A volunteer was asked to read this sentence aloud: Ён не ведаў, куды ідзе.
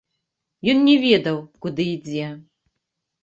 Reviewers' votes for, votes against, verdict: 1, 2, rejected